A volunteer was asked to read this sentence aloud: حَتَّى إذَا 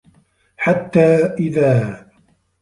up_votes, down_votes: 0, 2